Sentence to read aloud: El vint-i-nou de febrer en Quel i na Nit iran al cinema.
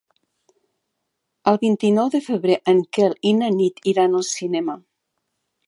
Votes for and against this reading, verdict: 2, 0, accepted